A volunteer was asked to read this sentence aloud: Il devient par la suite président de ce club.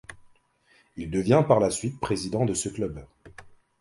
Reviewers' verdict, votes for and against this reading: accepted, 2, 0